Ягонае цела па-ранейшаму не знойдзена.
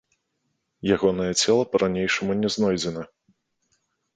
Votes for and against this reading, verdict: 1, 2, rejected